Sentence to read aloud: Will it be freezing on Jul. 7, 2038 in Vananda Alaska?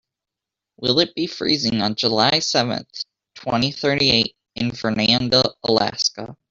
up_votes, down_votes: 0, 2